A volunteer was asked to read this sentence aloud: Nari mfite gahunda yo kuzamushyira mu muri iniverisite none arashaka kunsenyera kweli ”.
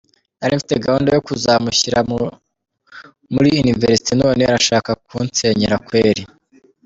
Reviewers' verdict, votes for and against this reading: rejected, 1, 2